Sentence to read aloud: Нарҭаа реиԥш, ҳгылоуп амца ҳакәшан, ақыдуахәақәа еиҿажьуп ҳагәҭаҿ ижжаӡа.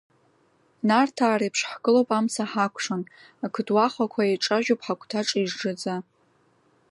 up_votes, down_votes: 0, 2